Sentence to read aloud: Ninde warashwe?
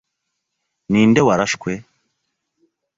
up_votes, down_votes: 2, 0